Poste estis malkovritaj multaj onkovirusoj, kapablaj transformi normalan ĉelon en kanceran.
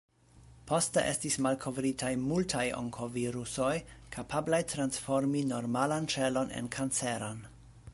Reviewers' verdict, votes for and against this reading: accepted, 2, 0